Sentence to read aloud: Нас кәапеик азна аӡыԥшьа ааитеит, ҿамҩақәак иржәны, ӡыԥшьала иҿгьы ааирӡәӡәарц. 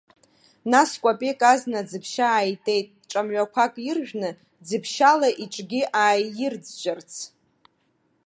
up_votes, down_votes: 2, 0